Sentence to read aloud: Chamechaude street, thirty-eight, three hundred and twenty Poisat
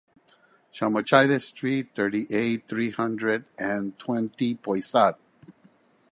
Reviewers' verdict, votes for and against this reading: accepted, 2, 0